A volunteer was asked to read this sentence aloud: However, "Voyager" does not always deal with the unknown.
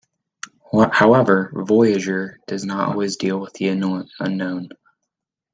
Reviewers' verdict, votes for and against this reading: accepted, 2, 1